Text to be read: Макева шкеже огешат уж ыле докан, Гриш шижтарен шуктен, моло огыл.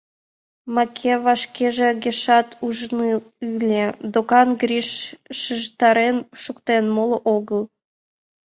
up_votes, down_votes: 0, 2